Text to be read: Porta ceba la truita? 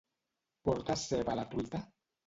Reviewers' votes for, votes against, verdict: 1, 2, rejected